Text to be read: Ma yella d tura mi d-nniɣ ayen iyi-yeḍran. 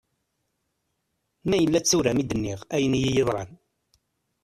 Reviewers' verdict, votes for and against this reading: rejected, 1, 2